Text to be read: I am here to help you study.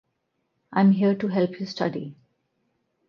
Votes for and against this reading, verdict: 6, 2, accepted